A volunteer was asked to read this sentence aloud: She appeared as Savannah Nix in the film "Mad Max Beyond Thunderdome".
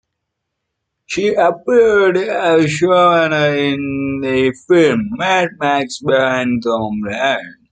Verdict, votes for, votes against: rejected, 0, 2